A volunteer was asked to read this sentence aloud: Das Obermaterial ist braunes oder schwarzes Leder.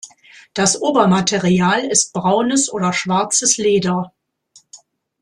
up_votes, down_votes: 2, 1